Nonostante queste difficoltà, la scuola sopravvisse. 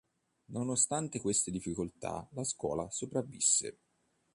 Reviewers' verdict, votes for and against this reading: accepted, 2, 0